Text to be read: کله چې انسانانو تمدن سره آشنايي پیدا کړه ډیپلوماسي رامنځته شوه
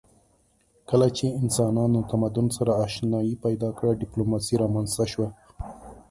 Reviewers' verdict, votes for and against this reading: accepted, 3, 0